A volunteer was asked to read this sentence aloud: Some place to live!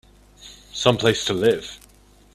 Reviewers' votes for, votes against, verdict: 2, 0, accepted